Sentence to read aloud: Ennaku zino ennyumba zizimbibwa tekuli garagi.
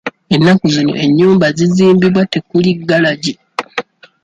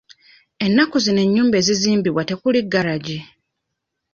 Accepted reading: first